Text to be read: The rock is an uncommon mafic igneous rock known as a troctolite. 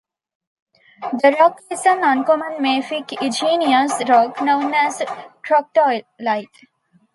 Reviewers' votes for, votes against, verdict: 0, 2, rejected